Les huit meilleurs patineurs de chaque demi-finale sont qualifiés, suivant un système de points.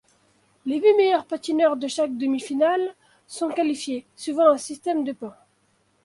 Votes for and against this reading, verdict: 2, 0, accepted